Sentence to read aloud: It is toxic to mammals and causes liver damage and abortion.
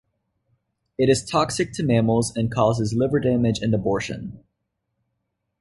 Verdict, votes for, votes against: accepted, 2, 0